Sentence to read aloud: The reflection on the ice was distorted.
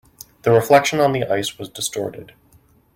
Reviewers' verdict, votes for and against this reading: accepted, 2, 0